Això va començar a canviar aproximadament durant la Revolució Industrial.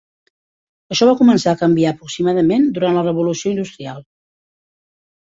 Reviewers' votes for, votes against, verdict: 2, 0, accepted